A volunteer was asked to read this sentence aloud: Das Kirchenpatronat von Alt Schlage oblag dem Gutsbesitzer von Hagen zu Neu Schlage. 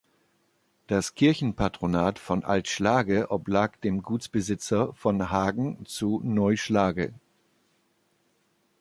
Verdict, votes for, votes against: accepted, 2, 0